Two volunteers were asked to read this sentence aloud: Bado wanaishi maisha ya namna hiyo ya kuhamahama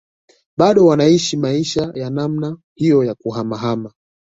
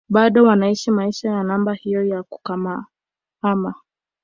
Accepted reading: first